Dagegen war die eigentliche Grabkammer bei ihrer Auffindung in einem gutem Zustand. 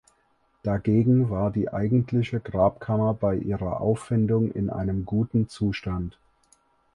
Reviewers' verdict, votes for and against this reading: accepted, 4, 0